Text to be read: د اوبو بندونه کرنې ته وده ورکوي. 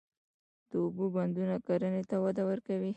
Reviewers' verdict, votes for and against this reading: accepted, 2, 1